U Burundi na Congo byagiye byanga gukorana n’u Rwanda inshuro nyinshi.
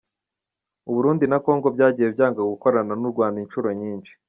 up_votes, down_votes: 2, 0